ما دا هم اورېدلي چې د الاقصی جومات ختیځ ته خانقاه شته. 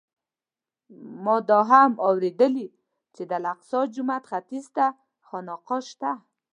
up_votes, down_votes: 2, 0